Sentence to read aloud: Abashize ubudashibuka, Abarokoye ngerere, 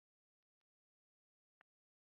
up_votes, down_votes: 0, 2